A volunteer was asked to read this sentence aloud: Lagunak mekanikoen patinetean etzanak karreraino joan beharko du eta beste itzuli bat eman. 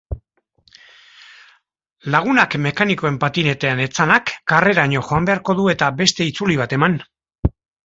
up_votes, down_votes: 2, 0